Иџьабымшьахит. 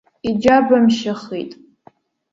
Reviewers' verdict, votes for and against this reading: accepted, 2, 0